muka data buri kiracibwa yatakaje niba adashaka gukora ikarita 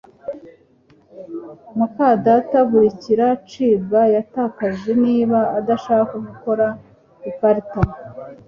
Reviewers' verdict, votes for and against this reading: accepted, 2, 0